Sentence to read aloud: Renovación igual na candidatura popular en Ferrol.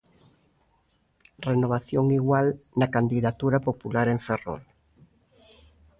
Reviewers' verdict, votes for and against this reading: accepted, 2, 0